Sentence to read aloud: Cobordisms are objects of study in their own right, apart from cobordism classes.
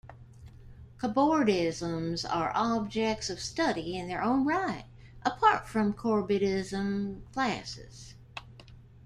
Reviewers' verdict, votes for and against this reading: accepted, 2, 1